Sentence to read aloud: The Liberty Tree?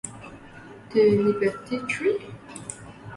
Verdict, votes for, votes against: rejected, 0, 3